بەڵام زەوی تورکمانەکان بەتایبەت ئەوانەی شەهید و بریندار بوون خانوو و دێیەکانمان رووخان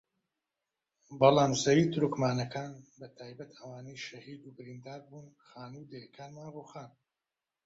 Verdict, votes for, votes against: rejected, 0, 3